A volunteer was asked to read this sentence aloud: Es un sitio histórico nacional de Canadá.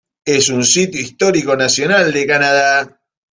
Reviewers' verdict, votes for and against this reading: accepted, 2, 0